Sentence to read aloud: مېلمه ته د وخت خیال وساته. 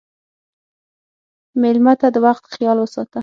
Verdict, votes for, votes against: rejected, 3, 6